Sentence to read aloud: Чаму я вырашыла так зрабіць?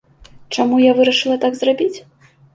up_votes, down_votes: 2, 0